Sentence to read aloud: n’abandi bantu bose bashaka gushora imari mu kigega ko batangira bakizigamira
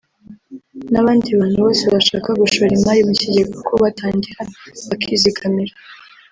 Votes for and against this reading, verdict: 0, 2, rejected